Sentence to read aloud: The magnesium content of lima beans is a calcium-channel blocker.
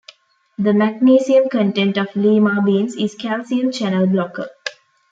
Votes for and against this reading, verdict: 0, 2, rejected